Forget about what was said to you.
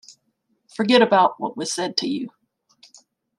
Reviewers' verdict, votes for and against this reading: accepted, 2, 0